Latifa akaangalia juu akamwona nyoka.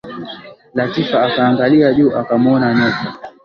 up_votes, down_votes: 11, 0